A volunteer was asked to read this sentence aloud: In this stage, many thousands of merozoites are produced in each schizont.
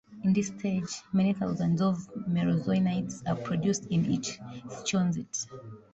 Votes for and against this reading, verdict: 0, 2, rejected